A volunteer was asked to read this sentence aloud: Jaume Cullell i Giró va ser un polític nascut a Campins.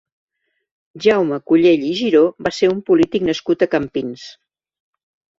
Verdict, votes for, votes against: accepted, 2, 0